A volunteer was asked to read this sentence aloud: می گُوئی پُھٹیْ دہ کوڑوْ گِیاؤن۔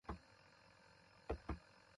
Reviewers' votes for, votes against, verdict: 0, 2, rejected